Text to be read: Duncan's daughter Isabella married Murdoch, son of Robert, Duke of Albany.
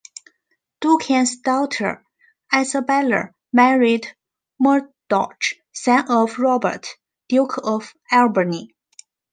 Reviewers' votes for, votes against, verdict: 1, 2, rejected